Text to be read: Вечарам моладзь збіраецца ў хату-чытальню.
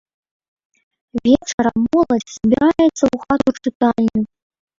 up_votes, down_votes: 0, 3